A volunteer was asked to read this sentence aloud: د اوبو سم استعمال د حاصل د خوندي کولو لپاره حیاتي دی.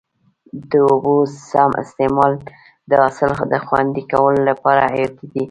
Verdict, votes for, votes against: accepted, 2, 0